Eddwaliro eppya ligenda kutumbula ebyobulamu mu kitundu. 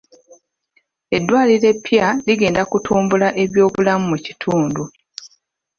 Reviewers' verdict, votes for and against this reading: accepted, 2, 0